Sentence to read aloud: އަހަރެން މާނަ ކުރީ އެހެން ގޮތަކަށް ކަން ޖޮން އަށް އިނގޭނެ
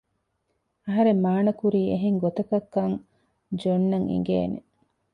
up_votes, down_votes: 2, 0